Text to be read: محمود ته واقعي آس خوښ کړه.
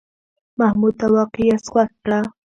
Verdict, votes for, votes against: accepted, 2, 0